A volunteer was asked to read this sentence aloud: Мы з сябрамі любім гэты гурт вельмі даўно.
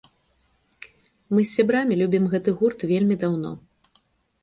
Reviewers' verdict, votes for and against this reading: accepted, 2, 0